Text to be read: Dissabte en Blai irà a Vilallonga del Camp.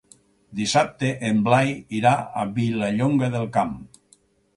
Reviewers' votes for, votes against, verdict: 4, 0, accepted